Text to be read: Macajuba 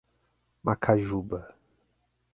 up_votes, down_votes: 4, 0